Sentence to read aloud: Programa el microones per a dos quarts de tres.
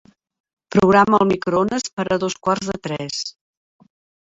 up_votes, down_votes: 0, 3